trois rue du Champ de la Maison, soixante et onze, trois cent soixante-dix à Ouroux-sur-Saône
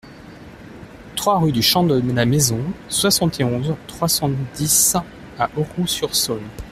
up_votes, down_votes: 0, 2